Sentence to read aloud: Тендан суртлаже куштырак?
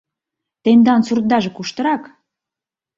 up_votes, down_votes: 0, 2